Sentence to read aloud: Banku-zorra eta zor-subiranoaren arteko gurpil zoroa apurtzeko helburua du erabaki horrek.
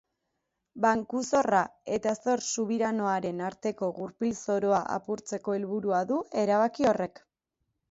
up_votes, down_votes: 3, 1